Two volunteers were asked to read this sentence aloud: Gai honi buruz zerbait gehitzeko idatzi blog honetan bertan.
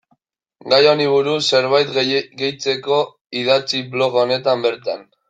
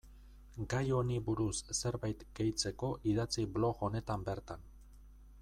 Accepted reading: second